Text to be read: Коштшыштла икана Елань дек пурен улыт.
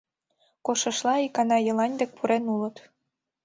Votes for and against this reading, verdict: 2, 0, accepted